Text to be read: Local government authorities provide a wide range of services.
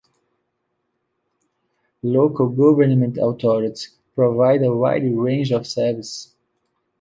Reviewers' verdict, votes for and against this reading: rejected, 0, 2